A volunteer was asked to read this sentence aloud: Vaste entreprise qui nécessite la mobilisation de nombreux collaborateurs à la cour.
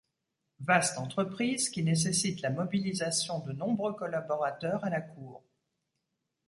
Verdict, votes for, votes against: accepted, 2, 0